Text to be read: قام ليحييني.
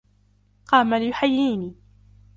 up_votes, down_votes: 2, 0